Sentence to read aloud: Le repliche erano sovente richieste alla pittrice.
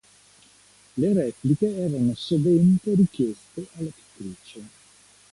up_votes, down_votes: 2, 1